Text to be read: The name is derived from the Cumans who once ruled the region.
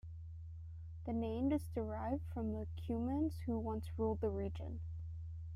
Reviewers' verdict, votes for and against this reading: accepted, 2, 0